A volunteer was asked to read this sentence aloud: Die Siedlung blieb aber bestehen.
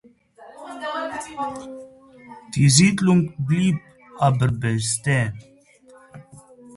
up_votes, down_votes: 0, 2